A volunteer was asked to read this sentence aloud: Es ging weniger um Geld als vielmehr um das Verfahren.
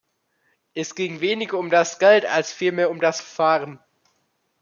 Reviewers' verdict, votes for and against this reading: rejected, 0, 2